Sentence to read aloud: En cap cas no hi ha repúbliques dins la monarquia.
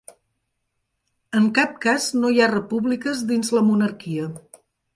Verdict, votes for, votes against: accepted, 3, 0